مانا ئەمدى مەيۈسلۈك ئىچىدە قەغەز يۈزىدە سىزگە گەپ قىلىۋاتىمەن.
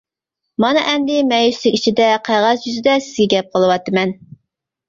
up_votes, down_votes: 0, 2